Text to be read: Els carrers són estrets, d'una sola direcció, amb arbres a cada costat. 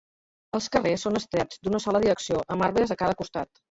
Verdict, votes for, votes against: rejected, 1, 2